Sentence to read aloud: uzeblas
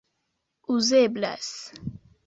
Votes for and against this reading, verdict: 2, 1, accepted